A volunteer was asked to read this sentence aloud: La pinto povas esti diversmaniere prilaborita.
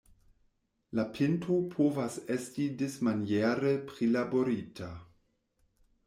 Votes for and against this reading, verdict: 0, 2, rejected